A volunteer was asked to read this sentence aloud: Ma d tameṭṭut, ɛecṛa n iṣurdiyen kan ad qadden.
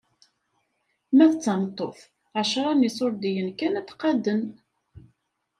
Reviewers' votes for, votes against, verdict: 2, 0, accepted